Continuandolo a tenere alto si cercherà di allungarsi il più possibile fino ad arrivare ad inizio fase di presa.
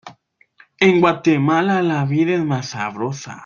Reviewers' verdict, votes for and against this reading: rejected, 0, 2